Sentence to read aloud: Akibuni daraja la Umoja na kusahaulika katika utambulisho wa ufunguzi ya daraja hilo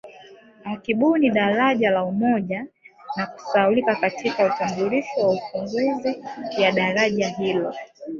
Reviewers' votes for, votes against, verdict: 2, 0, accepted